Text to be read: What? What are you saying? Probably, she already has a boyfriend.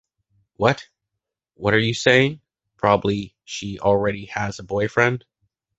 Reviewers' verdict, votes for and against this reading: accepted, 2, 1